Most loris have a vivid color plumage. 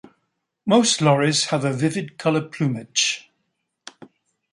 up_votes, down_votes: 2, 0